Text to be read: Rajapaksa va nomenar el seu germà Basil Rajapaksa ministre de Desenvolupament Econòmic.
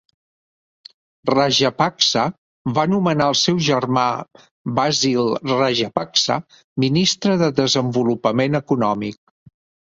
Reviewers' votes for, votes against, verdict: 3, 0, accepted